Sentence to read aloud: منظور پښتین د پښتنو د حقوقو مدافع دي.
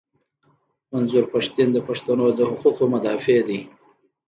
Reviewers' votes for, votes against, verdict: 2, 1, accepted